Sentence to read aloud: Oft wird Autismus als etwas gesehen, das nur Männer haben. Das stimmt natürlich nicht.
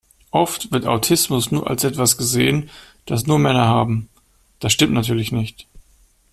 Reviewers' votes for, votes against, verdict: 1, 2, rejected